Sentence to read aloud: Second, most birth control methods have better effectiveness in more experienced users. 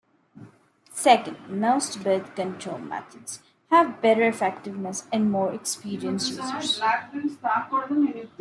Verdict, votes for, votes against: accepted, 2, 1